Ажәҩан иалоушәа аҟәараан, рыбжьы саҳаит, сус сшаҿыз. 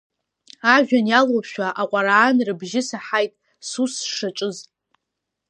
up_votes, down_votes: 2, 0